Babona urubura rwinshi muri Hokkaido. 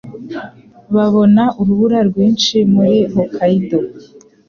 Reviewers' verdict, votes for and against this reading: accepted, 2, 0